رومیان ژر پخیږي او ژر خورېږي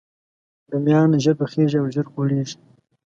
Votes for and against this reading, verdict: 2, 0, accepted